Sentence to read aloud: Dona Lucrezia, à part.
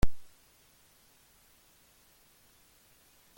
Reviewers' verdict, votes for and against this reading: rejected, 0, 2